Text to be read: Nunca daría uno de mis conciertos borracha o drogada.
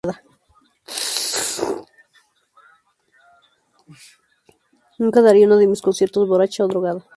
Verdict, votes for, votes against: rejected, 0, 2